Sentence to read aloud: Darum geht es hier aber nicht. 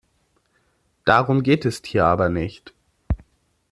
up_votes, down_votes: 1, 2